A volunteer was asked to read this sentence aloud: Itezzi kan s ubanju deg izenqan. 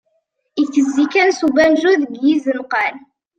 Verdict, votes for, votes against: accepted, 2, 0